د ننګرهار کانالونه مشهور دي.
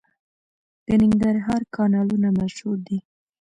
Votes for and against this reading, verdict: 1, 2, rejected